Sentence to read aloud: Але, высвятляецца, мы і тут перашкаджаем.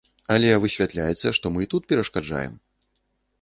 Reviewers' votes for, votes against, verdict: 0, 2, rejected